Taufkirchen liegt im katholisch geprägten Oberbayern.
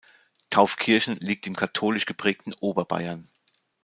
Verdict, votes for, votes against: accepted, 2, 0